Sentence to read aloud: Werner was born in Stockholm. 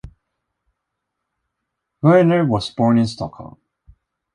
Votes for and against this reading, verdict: 2, 1, accepted